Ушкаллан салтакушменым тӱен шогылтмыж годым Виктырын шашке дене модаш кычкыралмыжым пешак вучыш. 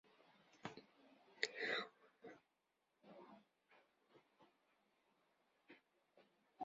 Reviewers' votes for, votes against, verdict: 1, 2, rejected